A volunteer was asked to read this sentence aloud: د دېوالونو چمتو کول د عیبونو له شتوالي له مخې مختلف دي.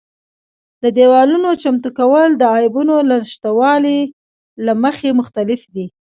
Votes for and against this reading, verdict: 2, 0, accepted